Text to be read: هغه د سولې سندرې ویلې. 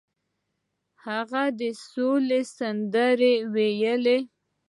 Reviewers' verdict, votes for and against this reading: rejected, 1, 2